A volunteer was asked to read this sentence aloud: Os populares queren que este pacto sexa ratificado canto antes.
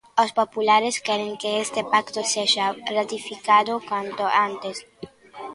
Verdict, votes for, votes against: accepted, 2, 1